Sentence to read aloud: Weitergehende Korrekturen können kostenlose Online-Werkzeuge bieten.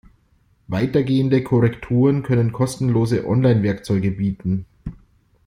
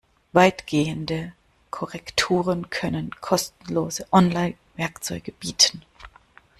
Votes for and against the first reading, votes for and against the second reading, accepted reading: 2, 0, 1, 2, first